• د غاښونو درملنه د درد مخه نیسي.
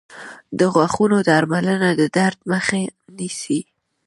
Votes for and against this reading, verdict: 2, 0, accepted